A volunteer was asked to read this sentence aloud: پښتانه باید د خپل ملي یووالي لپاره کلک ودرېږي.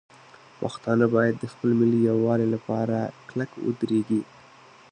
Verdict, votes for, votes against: accepted, 2, 0